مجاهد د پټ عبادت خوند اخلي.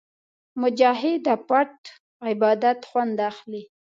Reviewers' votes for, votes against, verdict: 2, 0, accepted